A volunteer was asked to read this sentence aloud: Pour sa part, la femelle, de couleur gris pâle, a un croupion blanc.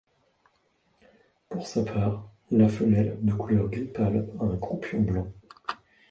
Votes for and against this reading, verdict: 2, 1, accepted